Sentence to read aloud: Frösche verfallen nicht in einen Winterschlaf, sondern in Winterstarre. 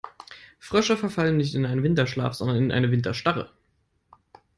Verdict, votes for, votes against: rejected, 1, 2